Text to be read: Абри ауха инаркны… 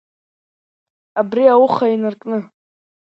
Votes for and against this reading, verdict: 2, 0, accepted